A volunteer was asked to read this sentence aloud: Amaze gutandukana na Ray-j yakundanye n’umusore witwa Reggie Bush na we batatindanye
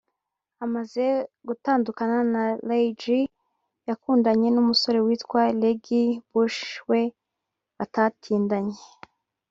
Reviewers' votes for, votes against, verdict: 0, 2, rejected